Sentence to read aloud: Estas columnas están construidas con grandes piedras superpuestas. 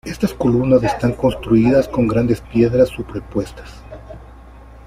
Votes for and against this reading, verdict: 0, 2, rejected